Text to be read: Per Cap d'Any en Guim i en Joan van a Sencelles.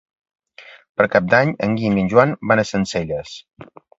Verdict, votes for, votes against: accepted, 2, 0